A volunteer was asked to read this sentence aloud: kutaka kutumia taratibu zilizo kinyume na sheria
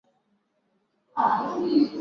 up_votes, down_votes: 1, 2